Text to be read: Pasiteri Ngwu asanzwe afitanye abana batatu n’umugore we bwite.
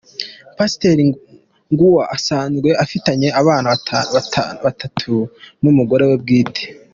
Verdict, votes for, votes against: rejected, 0, 2